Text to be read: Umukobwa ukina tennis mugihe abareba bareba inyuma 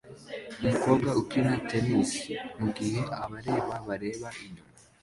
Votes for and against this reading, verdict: 2, 1, accepted